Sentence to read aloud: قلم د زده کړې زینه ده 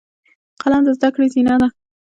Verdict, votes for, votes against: rejected, 1, 2